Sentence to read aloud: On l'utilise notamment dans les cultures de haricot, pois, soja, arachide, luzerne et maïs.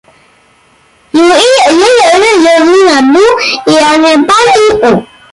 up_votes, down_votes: 0, 2